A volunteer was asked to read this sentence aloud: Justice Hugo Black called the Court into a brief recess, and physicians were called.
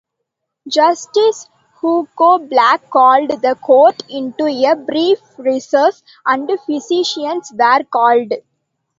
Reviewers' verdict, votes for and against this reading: rejected, 1, 2